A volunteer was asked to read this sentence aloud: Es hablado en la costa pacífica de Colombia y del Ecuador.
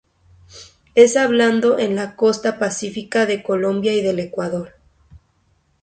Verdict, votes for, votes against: rejected, 0, 2